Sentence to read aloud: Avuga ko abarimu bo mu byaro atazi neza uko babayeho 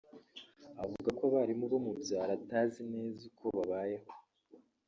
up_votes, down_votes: 1, 2